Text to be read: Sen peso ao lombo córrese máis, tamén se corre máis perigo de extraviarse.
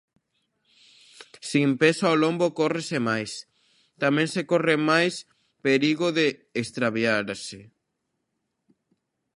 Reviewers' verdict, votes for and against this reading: rejected, 1, 2